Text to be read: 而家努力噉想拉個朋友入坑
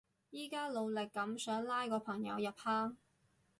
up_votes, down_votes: 2, 2